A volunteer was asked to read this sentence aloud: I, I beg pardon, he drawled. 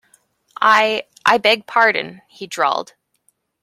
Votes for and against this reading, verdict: 2, 0, accepted